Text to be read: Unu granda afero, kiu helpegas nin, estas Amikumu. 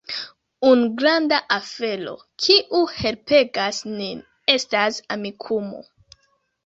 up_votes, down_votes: 0, 2